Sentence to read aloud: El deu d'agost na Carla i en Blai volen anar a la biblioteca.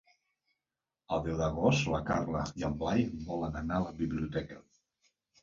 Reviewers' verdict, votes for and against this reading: rejected, 2, 3